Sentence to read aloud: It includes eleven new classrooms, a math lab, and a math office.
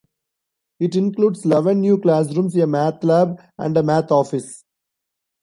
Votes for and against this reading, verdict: 1, 2, rejected